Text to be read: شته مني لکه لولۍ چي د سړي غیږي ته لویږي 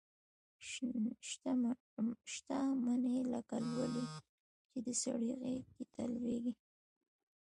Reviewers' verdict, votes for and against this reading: accepted, 2, 0